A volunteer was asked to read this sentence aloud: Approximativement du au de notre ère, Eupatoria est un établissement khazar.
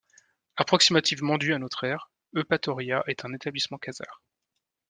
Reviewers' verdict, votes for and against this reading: rejected, 0, 2